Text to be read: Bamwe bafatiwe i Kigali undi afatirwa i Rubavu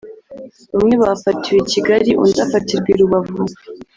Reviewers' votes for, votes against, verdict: 1, 2, rejected